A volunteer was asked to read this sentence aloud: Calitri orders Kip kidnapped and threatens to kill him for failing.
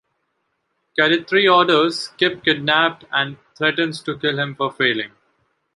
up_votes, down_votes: 2, 0